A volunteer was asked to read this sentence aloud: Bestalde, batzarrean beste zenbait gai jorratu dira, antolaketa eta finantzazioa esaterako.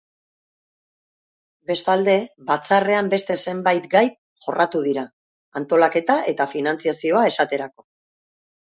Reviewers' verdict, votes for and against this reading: accepted, 3, 0